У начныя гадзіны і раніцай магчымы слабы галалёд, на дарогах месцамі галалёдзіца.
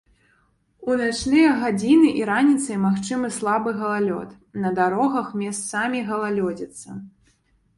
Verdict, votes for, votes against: accepted, 2, 0